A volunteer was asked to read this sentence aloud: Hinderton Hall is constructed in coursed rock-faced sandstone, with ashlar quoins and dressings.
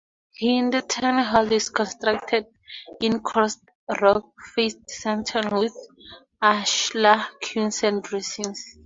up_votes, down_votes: 2, 2